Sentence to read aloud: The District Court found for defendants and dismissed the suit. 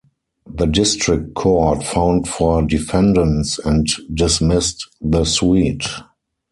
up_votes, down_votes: 2, 6